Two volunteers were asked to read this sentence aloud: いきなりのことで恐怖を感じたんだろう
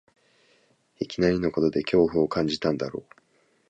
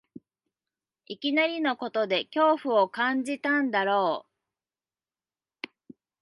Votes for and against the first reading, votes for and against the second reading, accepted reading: 2, 0, 1, 2, first